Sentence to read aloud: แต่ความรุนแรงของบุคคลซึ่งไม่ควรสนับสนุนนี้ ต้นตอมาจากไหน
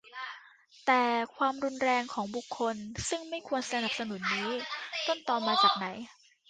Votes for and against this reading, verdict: 0, 2, rejected